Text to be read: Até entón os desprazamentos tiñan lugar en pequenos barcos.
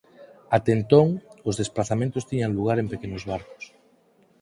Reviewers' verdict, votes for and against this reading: accepted, 4, 0